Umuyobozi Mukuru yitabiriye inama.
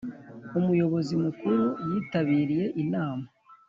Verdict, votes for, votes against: accepted, 3, 0